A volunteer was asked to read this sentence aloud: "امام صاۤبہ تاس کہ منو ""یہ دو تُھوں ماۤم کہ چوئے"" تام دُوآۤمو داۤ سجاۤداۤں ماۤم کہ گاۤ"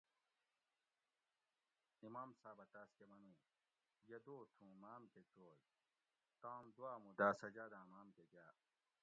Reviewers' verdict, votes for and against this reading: rejected, 1, 2